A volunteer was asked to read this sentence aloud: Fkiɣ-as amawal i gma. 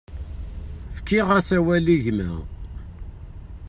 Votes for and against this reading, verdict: 1, 2, rejected